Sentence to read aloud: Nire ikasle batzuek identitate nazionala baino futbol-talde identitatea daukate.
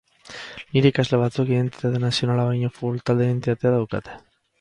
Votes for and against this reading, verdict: 2, 2, rejected